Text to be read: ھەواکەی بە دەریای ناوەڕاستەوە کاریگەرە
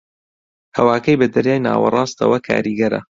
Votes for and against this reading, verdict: 2, 0, accepted